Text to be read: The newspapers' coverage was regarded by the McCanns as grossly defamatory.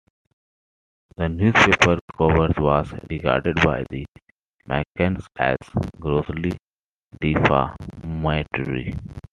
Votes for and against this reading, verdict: 1, 2, rejected